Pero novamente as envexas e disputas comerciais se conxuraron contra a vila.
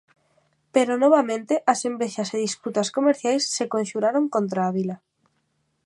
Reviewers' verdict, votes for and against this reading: accepted, 2, 0